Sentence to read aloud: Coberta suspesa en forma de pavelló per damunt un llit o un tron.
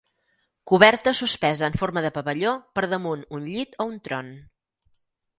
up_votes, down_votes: 4, 0